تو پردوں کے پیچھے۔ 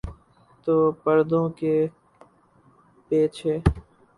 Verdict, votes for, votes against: rejected, 0, 6